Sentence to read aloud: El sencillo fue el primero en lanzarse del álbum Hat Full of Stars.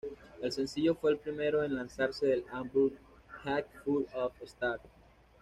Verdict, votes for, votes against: accepted, 2, 0